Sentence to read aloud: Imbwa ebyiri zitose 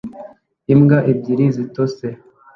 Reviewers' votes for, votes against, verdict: 2, 1, accepted